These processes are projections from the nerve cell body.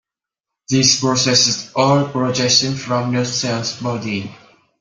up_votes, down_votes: 0, 2